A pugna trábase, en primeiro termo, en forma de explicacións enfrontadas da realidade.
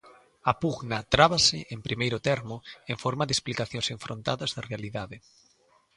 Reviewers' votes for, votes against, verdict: 3, 0, accepted